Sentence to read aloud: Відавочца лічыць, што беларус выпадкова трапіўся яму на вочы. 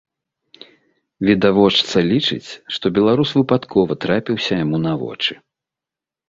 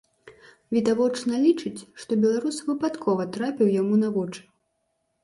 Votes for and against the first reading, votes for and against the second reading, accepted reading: 2, 0, 0, 2, first